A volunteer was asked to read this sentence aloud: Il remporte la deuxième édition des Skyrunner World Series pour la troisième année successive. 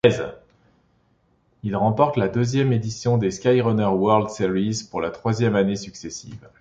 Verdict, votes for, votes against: rejected, 2, 3